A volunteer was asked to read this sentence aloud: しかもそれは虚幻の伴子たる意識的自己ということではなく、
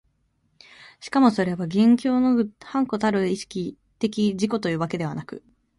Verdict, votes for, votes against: rejected, 0, 2